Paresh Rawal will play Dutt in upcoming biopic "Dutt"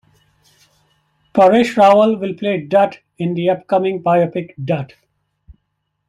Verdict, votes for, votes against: accepted, 2, 0